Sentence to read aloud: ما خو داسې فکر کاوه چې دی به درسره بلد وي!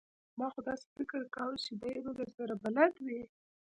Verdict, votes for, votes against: accepted, 2, 0